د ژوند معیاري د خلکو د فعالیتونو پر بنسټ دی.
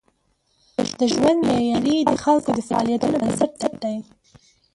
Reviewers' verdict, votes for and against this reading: rejected, 0, 2